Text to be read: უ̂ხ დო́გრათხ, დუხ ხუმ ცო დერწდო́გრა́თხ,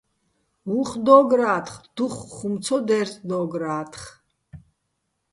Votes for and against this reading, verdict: 2, 0, accepted